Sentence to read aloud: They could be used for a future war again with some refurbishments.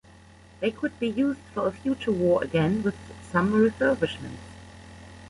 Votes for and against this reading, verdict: 1, 2, rejected